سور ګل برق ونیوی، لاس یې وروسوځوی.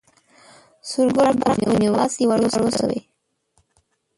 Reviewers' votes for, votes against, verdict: 0, 2, rejected